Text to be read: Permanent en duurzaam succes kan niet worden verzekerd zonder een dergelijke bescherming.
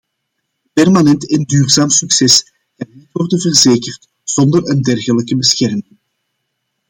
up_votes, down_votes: 0, 2